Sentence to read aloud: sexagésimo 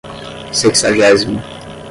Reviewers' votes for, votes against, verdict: 5, 5, rejected